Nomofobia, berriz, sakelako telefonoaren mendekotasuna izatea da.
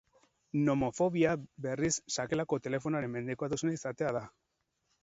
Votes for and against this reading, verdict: 2, 2, rejected